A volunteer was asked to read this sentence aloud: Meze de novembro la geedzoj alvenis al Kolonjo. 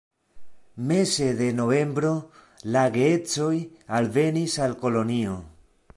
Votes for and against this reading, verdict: 0, 3, rejected